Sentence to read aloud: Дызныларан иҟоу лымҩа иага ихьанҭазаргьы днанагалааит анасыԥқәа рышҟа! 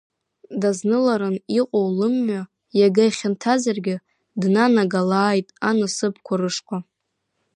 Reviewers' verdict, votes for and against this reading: accepted, 2, 0